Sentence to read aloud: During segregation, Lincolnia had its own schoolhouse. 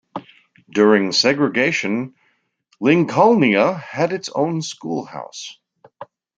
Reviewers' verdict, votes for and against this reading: accepted, 2, 0